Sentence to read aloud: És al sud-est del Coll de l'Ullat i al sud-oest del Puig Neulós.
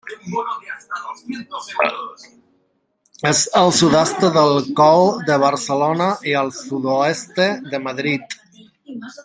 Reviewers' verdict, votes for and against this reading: rejected, 0, 2